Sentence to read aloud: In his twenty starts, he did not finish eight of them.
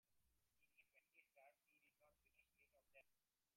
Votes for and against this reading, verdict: 0, 2, rejected